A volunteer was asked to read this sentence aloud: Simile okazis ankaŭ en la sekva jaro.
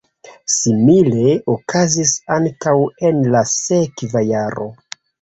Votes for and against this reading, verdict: 2, 1, accepted